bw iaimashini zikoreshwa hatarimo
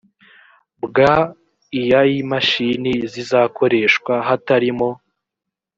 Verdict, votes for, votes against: rejected, 1, 2